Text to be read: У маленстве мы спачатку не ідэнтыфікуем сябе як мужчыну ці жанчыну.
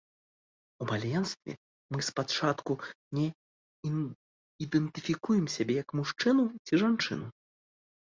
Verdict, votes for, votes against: rejected, 0, 2